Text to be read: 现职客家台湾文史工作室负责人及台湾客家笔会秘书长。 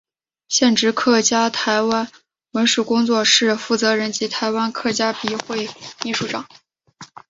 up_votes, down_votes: 3, 0